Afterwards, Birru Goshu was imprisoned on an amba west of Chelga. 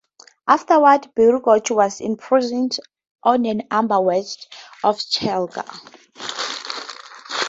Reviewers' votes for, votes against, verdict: 0, 2, rejected